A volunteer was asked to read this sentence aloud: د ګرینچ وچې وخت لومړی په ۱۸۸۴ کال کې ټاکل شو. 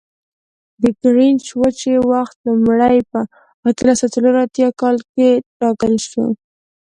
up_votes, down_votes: 0, 2